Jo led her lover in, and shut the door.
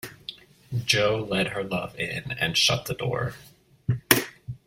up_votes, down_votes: 1, 2